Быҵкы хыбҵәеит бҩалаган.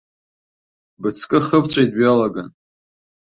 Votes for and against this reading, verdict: 2, 0, accepted